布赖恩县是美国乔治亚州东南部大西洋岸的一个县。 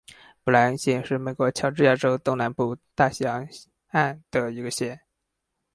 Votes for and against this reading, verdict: 2, 2, rejected